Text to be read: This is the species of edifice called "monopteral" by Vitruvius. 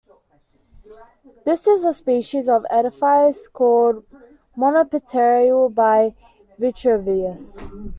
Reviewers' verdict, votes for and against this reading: accepted, 2, 1